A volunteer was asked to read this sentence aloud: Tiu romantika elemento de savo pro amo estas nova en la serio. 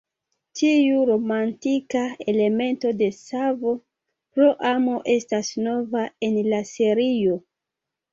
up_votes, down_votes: 3, 0